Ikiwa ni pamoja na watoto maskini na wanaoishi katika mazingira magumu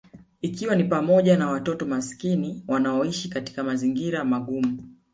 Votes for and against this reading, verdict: 1, 2, rejected